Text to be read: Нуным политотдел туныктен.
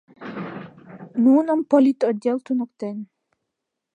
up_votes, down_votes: 2, 0